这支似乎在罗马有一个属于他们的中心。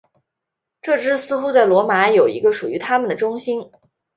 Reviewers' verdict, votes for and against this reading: rejected, 1, 2